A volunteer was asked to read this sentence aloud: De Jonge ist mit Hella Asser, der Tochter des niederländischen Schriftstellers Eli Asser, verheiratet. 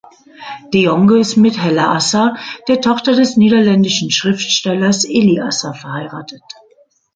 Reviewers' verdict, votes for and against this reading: accepted, 2, 1